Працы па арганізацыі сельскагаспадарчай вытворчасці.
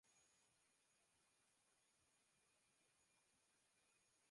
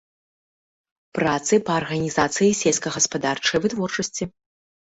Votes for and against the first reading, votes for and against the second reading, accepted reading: 0, 2, 3, 0, second